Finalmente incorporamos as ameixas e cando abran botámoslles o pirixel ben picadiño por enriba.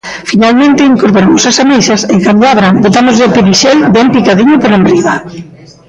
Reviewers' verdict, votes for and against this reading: rejected, 1, 2